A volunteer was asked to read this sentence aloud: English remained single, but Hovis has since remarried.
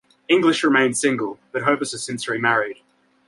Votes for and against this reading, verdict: 2, 0, accepted